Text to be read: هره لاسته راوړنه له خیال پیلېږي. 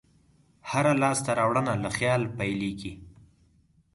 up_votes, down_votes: 4, 0